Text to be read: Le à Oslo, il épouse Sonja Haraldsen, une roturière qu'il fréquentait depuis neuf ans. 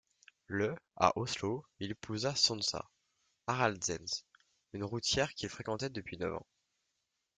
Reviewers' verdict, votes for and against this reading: rejected, 1, 2